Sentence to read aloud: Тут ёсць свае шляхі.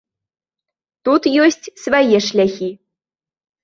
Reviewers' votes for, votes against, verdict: 2, 0, accepted